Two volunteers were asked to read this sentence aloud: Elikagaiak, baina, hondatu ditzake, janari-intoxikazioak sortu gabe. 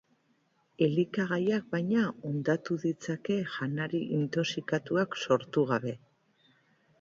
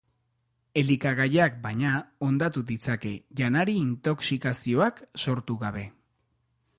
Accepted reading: second